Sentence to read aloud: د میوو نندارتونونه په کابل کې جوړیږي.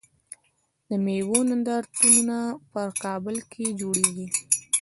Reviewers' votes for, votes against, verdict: 2, 1, accepted